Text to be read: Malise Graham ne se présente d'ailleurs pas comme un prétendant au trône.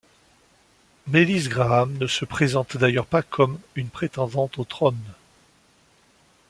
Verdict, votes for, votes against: rejected, 0, 3